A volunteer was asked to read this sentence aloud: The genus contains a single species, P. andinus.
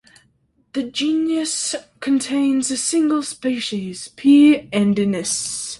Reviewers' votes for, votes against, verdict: 0, 2, rejected